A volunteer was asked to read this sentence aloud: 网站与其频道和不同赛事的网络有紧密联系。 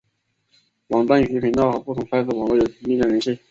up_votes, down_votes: 1, 2